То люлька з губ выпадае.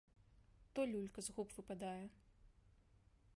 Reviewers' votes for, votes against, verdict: 2, 1, accepted